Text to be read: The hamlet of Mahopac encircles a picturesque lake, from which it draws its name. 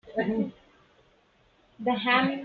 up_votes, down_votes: 0, 2